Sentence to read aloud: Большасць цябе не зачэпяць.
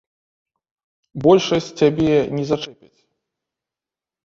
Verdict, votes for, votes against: rejected, 0, 2